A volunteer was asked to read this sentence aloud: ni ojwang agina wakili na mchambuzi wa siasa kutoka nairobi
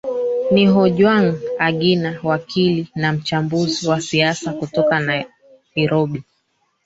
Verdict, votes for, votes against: rejected, 1, 3